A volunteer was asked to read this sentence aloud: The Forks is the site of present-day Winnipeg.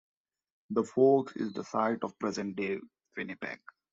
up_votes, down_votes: 2, 0